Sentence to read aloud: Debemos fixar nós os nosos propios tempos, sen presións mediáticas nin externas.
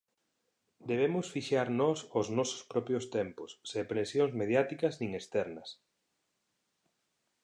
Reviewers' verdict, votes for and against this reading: rejected, 1, 2